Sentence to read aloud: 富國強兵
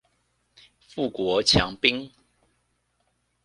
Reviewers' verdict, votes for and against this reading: accepted, 2, 0